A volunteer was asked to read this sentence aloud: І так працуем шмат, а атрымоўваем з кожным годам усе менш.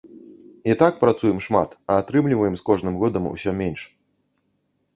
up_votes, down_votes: 0, 2